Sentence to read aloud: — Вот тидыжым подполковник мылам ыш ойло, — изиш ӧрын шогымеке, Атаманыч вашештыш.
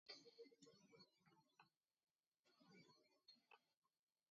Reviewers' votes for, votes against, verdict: 1, 2, rejected